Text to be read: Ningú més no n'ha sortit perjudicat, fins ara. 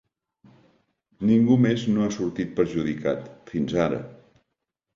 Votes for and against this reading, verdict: 1, 2, rejected